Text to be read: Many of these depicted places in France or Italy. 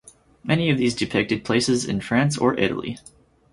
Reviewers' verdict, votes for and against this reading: accepted, 4, 0